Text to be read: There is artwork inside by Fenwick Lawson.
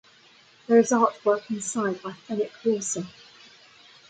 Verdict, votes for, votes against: accepted, 2, 1